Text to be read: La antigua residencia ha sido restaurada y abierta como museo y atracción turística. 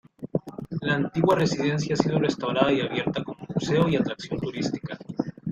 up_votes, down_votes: 2, 1